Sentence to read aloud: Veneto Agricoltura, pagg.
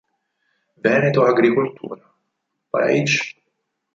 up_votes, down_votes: 0, 4